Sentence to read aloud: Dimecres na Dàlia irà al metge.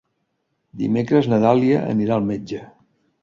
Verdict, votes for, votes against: rejected, 1, 2